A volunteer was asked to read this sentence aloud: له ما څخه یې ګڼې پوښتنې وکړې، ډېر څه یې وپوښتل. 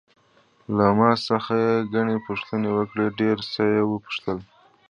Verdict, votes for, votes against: accepted, 2, 1